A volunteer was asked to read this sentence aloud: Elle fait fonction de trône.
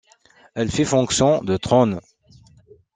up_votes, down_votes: 1, 2